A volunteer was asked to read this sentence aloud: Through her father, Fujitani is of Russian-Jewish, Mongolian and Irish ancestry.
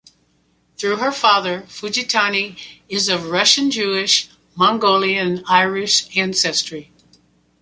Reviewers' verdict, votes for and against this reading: accepted, 2, 1